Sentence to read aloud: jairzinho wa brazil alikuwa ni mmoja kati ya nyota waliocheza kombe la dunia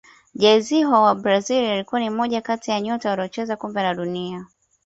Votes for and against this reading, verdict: 2, 0, accepted